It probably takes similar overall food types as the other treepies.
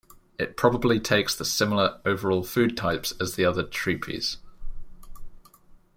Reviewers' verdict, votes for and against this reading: rejected, 0, 2